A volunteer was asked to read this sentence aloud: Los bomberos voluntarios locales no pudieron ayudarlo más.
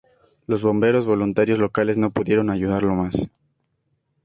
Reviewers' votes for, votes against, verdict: 2, 0, accepted